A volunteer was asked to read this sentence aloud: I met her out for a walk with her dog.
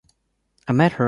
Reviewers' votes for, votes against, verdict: 0, 2, rejected